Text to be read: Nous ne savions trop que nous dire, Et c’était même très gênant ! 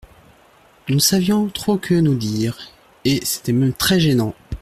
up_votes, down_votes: 2, 0